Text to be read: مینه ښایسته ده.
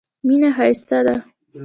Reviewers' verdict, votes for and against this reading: accepted, 2, 0